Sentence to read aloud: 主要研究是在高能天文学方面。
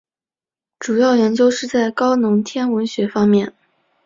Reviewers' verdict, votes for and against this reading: accepted, 2, 1